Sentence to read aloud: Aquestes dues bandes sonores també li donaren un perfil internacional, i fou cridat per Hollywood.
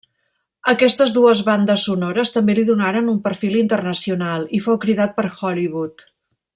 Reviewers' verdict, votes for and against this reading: accepted, 3, 0